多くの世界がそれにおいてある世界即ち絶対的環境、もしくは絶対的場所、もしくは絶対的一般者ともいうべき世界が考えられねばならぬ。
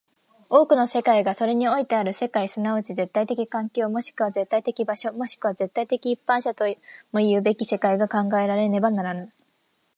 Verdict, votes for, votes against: accepted, 2, 0